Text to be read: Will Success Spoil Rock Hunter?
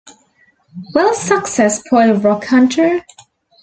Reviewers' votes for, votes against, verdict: 2, 1, accepted